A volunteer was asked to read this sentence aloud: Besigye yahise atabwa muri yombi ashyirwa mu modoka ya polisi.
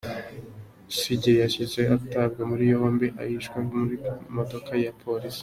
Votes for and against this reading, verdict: 2, 0, accepted